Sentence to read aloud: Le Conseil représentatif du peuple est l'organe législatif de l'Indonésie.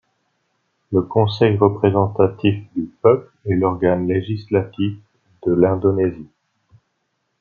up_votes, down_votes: 2, 0